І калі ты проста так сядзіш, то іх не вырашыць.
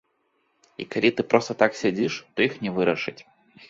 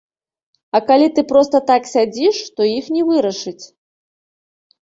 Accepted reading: first